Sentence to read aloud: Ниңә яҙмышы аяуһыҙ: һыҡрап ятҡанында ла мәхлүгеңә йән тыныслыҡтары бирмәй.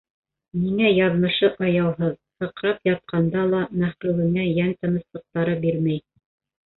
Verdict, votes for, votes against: rejected, 0, 2